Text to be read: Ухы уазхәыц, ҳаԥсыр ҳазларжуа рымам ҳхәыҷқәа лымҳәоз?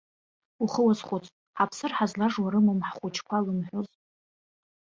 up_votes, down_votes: 1, 2